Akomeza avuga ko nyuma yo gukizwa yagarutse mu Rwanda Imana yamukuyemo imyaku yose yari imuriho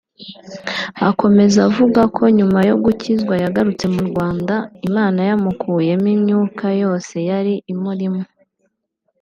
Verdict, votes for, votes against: rejected, 2, 3